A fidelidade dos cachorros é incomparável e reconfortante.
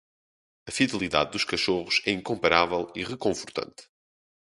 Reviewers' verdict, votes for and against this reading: accepted, 2, 0